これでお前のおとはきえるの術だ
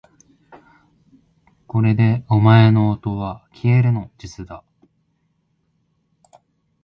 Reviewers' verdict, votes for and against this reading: accepted, 2, 0